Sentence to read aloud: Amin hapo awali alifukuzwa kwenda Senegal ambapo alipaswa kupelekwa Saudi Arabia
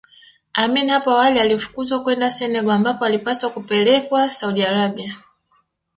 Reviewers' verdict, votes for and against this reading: rejected, 1, 2